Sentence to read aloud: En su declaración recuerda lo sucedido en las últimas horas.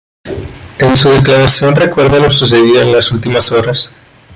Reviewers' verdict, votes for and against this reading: accepted, 2, 0